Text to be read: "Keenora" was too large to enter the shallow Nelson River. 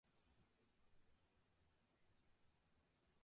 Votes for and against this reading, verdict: 0, 2, rejected